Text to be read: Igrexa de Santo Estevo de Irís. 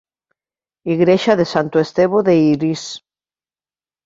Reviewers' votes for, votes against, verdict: 2, 0, accepted